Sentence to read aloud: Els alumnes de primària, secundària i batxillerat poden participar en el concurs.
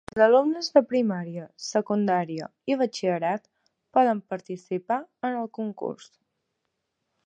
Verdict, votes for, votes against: rejected, 1, 4